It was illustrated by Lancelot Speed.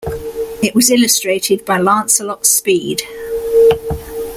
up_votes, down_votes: 2, 0